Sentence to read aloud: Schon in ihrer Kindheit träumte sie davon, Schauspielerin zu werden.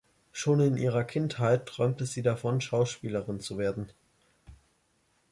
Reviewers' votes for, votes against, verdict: 2, 0, accepted